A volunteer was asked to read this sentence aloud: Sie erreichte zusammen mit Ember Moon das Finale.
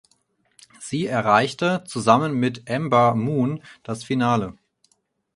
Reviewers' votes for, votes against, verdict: 4, 0, accepted